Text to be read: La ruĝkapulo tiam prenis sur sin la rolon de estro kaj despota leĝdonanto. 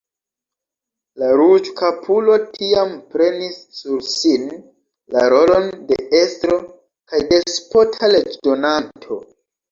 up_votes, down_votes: 0, 2